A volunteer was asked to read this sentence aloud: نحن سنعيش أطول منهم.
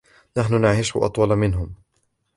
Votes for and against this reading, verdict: 0, 2, rejected